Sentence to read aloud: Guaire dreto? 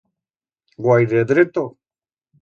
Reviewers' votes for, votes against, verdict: 2, 0, accepted